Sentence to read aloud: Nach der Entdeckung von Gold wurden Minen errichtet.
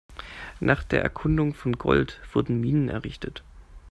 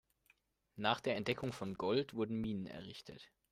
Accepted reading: second